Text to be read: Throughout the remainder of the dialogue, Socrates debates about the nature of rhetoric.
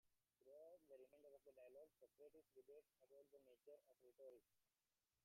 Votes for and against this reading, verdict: 1, 2, rejected